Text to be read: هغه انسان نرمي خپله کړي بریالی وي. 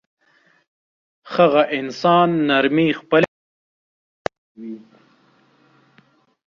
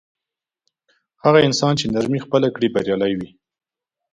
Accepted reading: second